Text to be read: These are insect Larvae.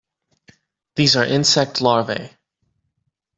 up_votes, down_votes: 2, 0